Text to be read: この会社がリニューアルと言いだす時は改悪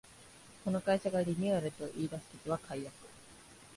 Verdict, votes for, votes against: rejected, 0, 2